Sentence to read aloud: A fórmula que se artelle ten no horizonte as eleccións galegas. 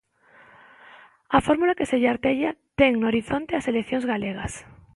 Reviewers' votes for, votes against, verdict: 0, 2, rejected